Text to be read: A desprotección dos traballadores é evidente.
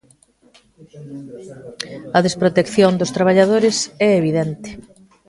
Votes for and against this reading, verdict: 2, 1, accepted